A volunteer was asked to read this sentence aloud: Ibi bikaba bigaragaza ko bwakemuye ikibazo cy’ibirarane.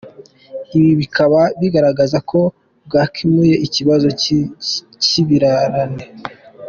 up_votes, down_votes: 1, 3